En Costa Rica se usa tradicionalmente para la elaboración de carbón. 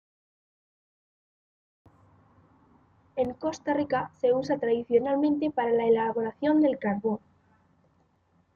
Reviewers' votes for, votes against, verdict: 1, 2, rejected